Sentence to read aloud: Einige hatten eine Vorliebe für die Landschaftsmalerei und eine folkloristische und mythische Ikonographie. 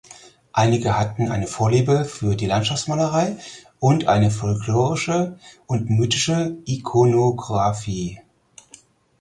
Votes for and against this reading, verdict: 2, 4, rejected